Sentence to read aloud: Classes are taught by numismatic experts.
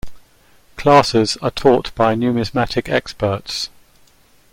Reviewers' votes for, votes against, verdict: 2, 0, accepted